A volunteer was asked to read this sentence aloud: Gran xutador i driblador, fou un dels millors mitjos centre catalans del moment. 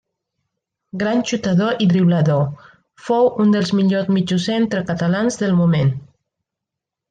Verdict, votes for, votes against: accepted, 2, 0